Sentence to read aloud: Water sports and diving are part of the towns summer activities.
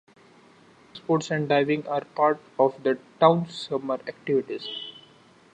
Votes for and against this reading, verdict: 0, 2, rejected